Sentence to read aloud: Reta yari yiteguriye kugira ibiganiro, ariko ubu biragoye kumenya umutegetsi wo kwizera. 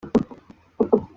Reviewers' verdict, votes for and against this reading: rejected, 0, 2